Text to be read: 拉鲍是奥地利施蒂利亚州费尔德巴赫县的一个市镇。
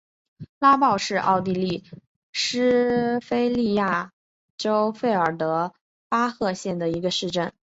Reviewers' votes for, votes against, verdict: 0, 2, rejected